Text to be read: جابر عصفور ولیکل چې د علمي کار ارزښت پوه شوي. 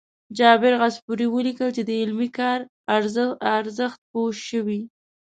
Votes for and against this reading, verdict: 2, 0, accepted